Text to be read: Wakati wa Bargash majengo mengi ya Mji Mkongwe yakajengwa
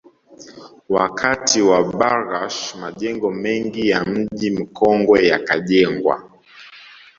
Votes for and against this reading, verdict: 2, 0, accepted